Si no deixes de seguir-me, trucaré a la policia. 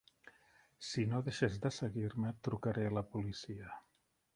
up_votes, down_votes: 3, 1